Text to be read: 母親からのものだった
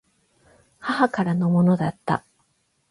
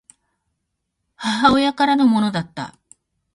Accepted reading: second